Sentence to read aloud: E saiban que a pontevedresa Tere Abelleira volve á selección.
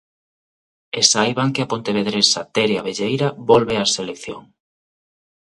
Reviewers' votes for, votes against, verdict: 2, 0, accepted